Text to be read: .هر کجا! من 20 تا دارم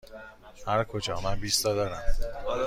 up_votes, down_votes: 0, 2